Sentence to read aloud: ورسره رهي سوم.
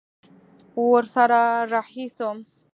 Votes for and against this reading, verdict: 2, 0, accepted